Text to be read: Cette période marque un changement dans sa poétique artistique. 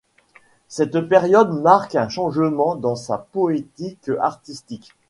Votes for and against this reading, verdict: 2, 0, accepted